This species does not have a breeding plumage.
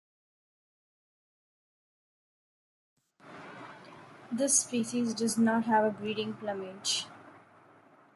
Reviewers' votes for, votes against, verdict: 2, 1, accepted